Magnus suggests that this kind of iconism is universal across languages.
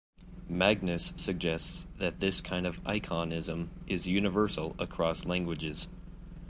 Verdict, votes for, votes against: accepted, 2, 0